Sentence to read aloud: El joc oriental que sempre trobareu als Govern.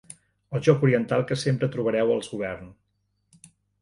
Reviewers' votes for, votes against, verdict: 2, 0, accepted